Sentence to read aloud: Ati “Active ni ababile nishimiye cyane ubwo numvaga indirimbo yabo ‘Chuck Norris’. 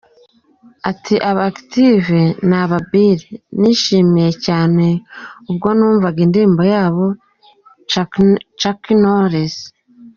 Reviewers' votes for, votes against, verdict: 0, 3, rejected